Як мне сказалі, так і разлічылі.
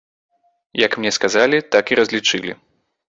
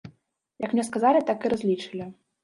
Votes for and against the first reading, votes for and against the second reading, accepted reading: 2, 0, 0, 2, first